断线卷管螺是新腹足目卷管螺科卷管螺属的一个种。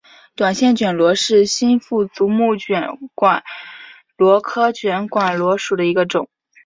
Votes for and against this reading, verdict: 4, 0, accepted